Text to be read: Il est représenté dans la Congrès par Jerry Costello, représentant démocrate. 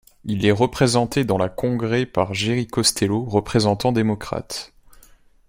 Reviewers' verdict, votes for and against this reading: accepted, 2, 0